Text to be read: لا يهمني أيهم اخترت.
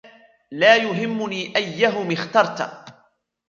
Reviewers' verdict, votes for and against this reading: rejected, 1, 2